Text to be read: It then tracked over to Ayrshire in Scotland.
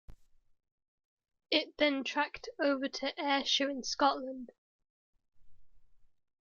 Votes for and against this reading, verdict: 2, 0, accepted